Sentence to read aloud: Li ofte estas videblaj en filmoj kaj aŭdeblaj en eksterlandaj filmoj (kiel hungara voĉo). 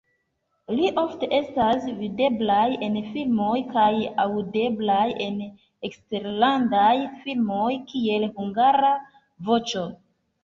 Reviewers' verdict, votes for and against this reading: accepted, 2, 0